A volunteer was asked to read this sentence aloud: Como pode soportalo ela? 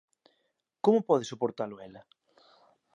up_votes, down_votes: 2, 0